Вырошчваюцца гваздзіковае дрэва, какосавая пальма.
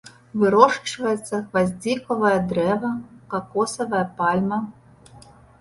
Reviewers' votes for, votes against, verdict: 1, 2, rejected